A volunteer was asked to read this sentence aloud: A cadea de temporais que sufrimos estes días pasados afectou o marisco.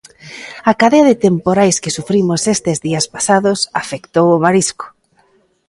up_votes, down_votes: 2, 0